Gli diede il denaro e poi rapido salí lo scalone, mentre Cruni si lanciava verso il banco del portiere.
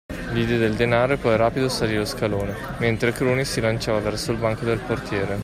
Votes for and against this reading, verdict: 2, 1, accepted